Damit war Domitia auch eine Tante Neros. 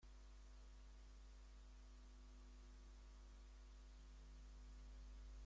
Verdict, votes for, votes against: rejected, 0, 2